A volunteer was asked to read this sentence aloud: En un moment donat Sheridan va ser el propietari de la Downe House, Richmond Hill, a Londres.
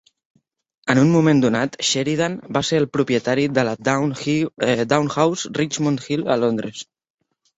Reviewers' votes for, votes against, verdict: 1, 2, rejected